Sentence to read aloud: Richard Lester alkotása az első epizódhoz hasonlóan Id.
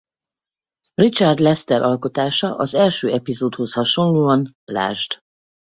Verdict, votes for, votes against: rejected, 0, 2